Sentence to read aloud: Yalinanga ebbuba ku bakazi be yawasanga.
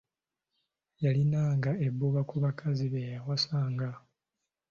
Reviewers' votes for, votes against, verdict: 2, 0, accepted